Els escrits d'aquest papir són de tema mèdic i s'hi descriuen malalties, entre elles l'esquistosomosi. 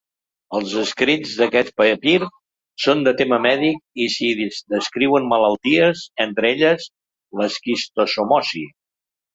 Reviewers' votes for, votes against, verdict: 0, 2, rejected